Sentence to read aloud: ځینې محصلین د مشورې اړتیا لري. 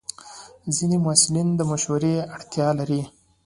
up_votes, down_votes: 2, 0